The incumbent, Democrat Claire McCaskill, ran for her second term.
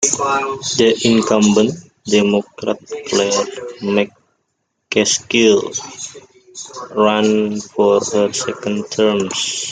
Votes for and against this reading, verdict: 1, 2, rejected